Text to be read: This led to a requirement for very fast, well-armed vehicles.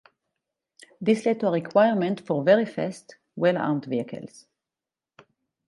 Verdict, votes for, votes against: rejected, 2, 4